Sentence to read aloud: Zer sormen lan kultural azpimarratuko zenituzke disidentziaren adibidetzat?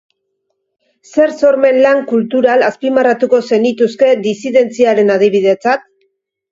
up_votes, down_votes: 3, 0